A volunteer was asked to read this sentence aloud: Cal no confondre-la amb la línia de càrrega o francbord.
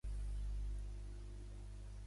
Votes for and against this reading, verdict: 0, 2, rejected